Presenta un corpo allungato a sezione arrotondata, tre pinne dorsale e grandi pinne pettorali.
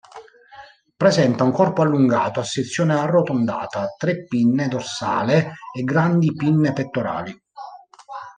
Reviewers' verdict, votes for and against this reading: rejected, 1, 2